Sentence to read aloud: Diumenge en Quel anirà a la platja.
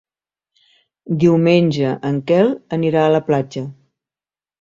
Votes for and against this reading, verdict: 3, 0, accepted